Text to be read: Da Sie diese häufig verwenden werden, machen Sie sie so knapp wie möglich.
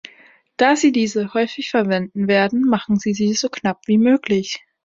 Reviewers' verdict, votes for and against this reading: accepted, 5, 0